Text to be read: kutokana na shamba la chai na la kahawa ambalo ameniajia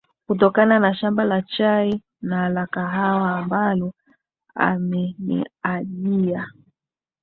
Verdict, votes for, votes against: accepted, 2, 0